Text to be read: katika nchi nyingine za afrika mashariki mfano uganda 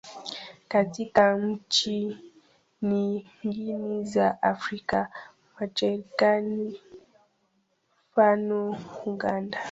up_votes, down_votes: 1, 3